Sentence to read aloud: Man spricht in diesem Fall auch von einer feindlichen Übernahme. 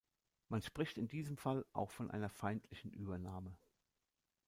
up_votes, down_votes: 2, 0